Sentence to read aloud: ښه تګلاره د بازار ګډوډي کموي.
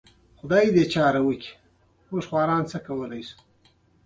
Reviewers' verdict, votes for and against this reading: rejected, 0, 2